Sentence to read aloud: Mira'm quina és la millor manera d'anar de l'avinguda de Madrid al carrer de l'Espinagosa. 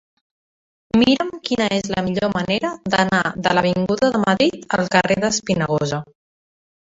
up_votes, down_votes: 2, 1